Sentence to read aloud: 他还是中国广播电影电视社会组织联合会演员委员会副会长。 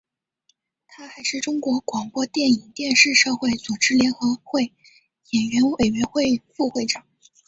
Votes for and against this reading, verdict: 1, 2, rejected